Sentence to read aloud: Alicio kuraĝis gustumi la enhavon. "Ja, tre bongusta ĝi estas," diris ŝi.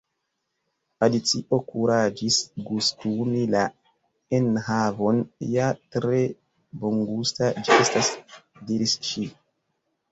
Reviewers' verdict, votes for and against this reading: accepted, 2, 1